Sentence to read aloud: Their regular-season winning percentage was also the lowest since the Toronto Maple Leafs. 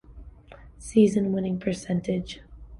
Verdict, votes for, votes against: rejected, 1, 3